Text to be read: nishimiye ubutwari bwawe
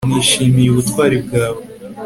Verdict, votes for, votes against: accepted, 3, 0